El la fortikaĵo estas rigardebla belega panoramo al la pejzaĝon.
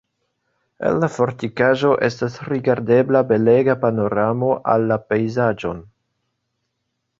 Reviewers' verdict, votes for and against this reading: accepted, 3, 1